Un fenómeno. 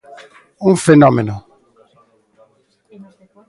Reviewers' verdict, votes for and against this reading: accepted, 2, 0